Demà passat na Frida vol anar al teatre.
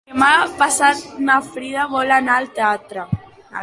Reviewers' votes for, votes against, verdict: 1, 2, rejected